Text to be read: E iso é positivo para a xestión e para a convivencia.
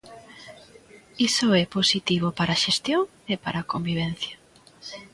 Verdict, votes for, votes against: rejected, 1, 2